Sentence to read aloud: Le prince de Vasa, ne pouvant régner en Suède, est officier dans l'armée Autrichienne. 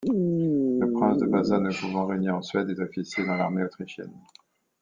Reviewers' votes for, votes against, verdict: 1, 2, rejected